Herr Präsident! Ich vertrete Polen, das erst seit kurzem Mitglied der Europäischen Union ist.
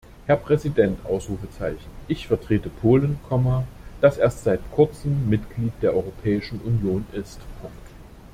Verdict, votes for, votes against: rejected, 0, 2